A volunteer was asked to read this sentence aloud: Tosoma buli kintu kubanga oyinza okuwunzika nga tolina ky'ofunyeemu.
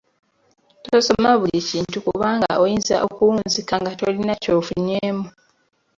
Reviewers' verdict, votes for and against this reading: accepted, 2, 0